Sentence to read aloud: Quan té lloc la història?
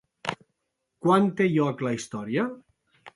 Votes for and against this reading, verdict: 2, 0, accepted